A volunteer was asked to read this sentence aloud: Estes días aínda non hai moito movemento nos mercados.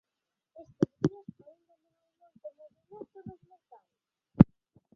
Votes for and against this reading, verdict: 0, 2, rejected